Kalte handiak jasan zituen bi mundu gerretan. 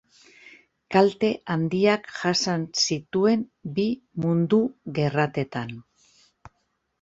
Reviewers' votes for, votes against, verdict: 0, 2, rejected